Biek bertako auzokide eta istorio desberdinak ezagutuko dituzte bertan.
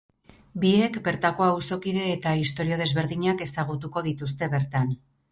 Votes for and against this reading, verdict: 4, 0, accepted